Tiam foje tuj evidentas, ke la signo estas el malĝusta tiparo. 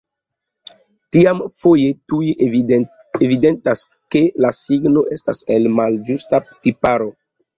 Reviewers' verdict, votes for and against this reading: accepted, 2, 0